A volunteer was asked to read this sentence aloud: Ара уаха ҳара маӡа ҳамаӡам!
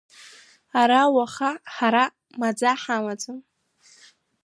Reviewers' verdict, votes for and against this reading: rejected, 1, 2